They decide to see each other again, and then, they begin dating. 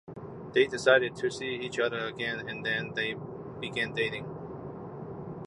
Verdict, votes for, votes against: rejected, 1, 2